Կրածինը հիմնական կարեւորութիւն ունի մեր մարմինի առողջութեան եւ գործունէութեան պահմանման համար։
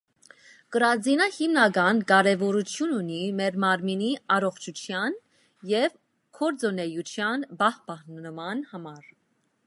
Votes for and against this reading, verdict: 2, 0, accepted